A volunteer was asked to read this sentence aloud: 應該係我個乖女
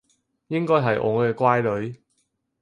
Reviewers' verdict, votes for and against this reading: rejected, 2, 4